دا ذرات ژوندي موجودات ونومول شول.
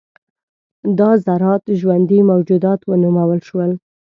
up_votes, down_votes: 2, 0